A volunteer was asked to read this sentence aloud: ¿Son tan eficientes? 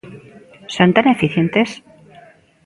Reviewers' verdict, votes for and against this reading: accepted, 2, 0